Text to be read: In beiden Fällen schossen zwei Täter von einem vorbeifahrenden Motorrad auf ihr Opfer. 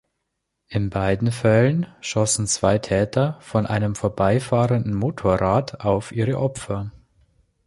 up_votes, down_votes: 1, 2